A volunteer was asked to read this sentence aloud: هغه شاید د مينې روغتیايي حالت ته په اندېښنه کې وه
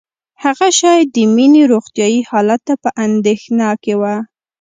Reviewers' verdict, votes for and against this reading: accepted, 2, 0